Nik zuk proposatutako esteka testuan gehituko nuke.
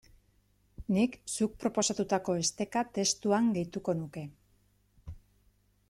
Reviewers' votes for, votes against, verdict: 2, 0, accepted